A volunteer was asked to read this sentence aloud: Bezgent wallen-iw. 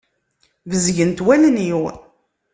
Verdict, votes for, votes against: accepted, 2, 0